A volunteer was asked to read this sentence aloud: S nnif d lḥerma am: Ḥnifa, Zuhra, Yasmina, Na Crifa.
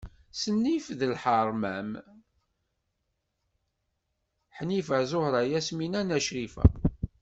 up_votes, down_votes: 0, 2